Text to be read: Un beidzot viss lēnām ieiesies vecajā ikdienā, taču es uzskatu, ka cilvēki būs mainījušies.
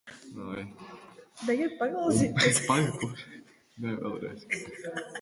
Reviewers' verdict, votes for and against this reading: rejected, 0, 2